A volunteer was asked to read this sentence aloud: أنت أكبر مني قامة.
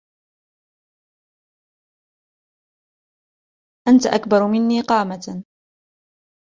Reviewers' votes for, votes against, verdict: 1, 2, rejected